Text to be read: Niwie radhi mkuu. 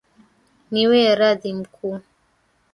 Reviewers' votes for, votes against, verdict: 2, 1, accepted